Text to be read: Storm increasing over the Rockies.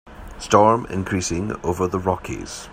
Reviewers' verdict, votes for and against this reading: accepted, 3, 0